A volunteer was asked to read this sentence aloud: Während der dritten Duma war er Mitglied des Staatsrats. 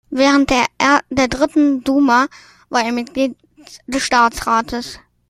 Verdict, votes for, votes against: rejected, 1, 2